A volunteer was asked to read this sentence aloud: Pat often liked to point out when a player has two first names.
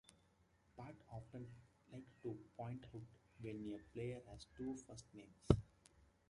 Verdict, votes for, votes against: rejected, 0, 2